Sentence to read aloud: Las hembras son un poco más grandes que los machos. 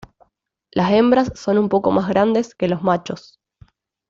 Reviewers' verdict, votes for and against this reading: rejected, 1, 2